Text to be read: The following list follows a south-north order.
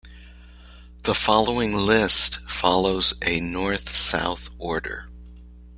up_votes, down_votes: 0, 2